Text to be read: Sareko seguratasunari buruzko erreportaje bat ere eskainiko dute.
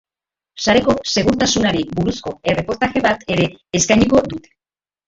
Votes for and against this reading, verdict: 0, 2, rejected